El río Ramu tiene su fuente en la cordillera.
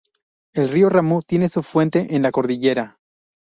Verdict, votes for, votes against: accepted, 2, 0